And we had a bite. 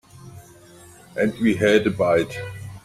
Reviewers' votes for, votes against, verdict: 4, 1, accepted